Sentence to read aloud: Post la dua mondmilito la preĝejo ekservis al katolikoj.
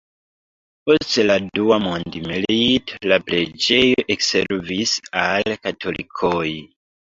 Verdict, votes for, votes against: rejected, 0, 2